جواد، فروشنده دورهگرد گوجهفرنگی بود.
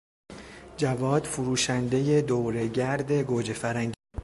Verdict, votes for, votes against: rejected, 1, 2